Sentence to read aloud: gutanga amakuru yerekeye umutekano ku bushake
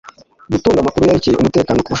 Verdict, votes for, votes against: rejected, 1, 2